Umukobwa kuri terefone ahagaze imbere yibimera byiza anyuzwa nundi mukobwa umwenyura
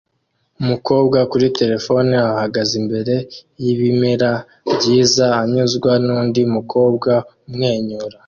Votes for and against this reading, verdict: 2, 0, accepted